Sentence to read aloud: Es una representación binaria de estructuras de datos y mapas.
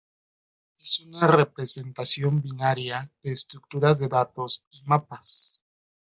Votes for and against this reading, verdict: 1, 2, rejected